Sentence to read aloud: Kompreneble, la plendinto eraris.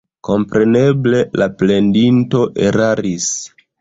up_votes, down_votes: 0, 2